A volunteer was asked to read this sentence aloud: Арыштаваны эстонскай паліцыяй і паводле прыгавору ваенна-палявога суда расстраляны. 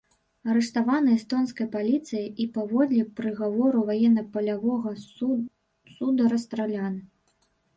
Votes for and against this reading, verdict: 0, 2, rejected